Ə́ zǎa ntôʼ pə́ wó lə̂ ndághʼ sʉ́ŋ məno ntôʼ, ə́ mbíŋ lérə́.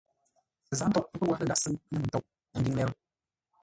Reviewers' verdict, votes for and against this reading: rejected, 0, 2